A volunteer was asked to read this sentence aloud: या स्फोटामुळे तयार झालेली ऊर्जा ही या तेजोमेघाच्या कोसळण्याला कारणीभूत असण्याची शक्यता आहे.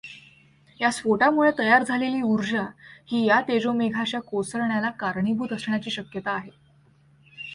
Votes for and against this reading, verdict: 2, 1, accepted